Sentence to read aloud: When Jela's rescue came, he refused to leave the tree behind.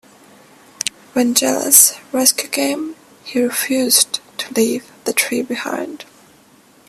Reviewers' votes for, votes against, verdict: 2, 1, accepted